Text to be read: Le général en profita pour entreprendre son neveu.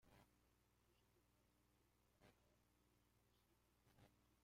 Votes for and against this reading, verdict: 0, 2, rejected